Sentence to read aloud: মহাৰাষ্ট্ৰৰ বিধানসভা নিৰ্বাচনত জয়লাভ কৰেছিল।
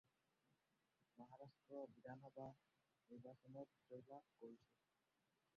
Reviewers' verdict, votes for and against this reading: rejected, 0, 2